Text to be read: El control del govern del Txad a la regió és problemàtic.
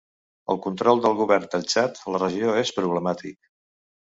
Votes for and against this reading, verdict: 2, 0, accepted